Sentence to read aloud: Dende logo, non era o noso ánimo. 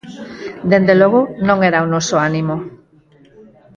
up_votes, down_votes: 2, 4